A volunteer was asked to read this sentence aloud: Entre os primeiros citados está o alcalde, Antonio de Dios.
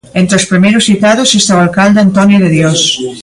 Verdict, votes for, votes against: rejected, 1, 2